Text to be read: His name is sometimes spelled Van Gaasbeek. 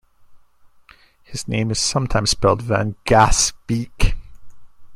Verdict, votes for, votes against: rejected, 0, 2